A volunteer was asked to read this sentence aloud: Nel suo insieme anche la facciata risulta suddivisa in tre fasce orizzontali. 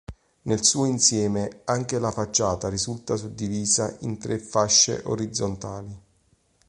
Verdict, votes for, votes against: accepted, 2, 0